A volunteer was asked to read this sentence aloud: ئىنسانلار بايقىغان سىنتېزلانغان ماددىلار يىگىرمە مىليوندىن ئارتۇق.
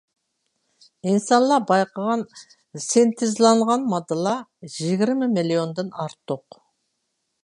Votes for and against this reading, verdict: 2, 0, accepted